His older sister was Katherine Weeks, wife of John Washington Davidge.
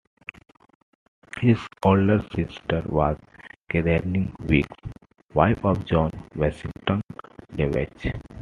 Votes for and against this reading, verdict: 2, 1, accepted